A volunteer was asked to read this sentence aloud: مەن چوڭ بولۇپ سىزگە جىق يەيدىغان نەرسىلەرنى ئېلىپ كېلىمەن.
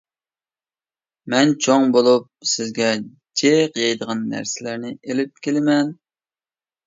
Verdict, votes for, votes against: accepted, 2, 0